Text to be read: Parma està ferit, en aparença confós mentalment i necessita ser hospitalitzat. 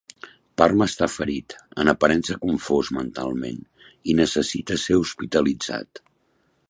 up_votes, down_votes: 3, 0